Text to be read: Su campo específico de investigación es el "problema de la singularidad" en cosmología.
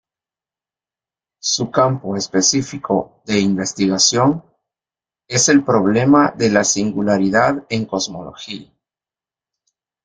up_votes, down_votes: 2, 0